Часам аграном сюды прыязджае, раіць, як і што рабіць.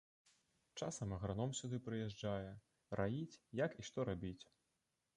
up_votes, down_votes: 0, 2